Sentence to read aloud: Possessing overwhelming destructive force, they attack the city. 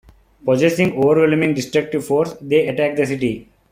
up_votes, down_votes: 2, 0